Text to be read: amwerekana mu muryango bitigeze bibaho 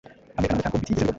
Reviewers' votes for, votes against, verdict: 1, 2, rejected